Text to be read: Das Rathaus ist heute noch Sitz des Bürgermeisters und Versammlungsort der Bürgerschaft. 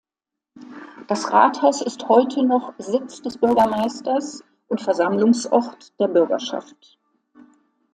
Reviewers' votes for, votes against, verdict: 2, 0, accepted